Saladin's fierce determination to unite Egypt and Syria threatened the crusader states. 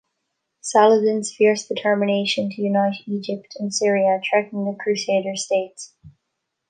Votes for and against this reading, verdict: 2, 0, accepted